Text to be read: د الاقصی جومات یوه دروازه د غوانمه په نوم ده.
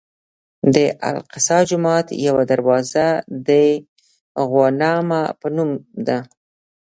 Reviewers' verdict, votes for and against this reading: rejected, 1, 2